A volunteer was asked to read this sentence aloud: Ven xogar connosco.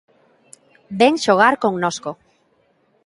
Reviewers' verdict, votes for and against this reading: accepted, 3, 0